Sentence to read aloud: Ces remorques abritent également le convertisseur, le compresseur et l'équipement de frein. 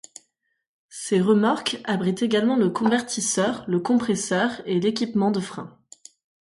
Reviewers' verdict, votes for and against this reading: accepted, 2, 0